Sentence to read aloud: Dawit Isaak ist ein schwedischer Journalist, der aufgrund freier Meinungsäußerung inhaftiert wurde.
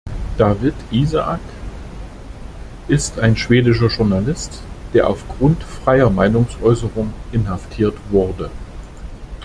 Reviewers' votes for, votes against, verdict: 2, 0, accepted